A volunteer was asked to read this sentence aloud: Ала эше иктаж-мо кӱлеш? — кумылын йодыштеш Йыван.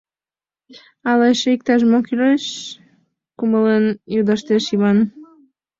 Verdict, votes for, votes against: accepted, 2, 0